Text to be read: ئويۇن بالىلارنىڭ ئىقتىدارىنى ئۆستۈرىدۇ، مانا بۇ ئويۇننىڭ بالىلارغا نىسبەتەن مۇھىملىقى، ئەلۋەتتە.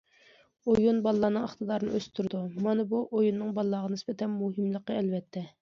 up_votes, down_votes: 2, 0